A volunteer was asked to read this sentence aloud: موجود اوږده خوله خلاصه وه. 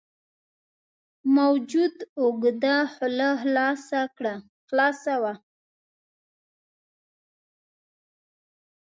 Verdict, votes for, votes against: rejected, 1, 2